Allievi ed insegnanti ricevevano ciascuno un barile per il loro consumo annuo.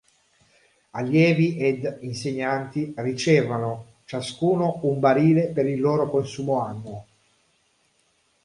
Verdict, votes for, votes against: rejected, 1, 4